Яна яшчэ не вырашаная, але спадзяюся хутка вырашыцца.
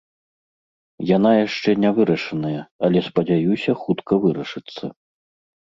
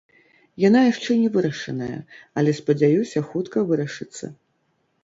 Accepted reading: first